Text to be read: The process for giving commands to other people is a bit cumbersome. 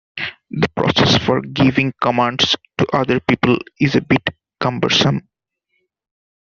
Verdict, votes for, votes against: accepted, 2, 1